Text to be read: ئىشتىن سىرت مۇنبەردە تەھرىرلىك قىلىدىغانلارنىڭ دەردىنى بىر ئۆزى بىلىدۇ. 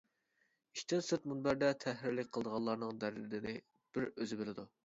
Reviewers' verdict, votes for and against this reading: rejected, 1, 2